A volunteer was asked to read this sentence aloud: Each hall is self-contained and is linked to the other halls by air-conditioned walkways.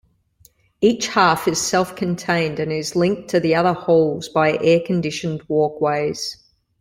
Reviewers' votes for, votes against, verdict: 1, 2, rejected